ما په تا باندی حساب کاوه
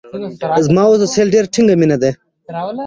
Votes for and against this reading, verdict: 0, 2, rejected